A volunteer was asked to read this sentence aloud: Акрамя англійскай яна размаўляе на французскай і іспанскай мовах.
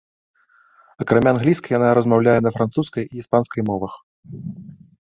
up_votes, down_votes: 3, 0